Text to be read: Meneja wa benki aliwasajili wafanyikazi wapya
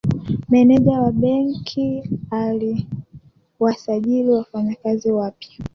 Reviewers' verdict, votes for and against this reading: accepted, 2, 1